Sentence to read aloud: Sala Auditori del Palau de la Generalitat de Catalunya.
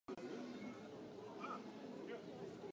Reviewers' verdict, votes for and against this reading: rejected, 0, 2